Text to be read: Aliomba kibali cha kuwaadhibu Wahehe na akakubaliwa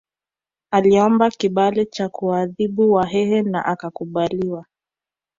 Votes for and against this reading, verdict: 2, 0, accepted